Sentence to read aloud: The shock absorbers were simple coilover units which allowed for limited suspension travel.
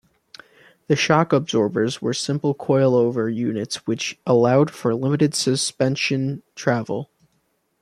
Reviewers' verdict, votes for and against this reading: accepted, 2, 0